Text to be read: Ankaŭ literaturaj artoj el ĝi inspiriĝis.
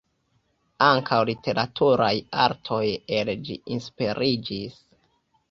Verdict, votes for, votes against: rejected, 0, 2